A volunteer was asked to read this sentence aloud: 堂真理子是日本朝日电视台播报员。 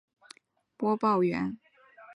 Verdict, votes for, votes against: rejected, 0, 3